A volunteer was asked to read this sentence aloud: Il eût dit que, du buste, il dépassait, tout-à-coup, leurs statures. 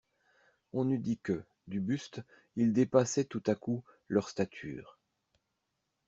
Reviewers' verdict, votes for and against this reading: rejected, 0, 2